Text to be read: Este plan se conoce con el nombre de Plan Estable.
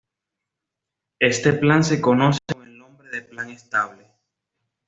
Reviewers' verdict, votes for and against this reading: accepted, 2, 0